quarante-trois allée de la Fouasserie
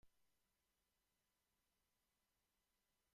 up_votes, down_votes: 0, 2